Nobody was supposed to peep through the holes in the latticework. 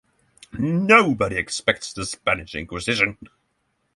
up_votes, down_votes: 0, 6